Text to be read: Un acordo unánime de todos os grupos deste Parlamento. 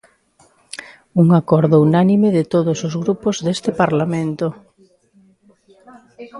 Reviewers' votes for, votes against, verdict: 5, 0, accepted